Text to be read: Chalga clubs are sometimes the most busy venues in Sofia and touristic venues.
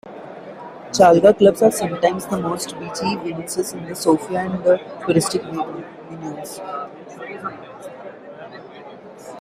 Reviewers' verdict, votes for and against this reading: rejected, 1, 2